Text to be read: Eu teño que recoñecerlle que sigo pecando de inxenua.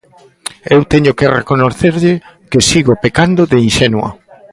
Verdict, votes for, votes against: rejected, 0, 2